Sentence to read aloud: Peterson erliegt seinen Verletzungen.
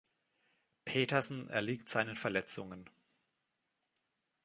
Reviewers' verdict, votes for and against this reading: accepted, 3, 0